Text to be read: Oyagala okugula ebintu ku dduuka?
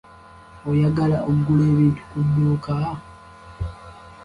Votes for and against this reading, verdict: 2, 1, accepted